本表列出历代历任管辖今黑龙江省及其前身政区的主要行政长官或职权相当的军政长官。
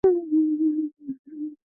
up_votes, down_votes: 1, 3